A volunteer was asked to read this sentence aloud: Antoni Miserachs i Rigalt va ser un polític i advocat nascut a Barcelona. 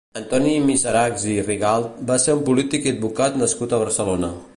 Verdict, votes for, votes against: accepted, 2, 0